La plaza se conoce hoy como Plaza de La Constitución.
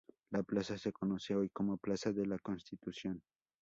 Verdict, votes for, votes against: accepted, 2, 0